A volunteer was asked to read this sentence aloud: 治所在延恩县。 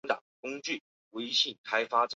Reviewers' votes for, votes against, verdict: 1, 2, rejected